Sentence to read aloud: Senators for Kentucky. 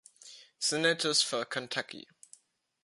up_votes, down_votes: 2, 0